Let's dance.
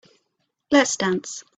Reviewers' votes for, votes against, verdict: 2, 0, accepted